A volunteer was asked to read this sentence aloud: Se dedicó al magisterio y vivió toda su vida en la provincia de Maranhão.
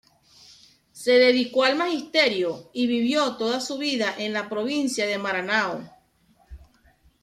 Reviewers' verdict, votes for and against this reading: accepted, 2, 1